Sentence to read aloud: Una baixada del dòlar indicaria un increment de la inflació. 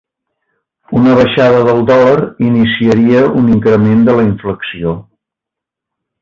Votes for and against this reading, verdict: 0, 2, rejected